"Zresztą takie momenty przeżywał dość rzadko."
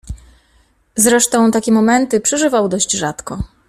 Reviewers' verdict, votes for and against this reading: accepted, 2, 0